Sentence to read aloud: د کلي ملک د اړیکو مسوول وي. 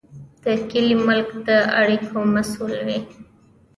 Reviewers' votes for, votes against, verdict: 2, 0, accepted